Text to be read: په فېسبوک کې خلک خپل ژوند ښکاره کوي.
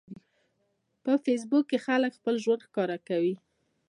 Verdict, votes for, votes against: accepted, 2, 0